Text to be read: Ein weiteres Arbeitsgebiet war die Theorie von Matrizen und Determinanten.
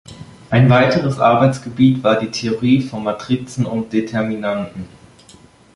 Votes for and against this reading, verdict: 2, 0, accepted